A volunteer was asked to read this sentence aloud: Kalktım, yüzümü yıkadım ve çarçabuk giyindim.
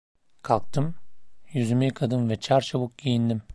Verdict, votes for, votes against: accepted, 2, 0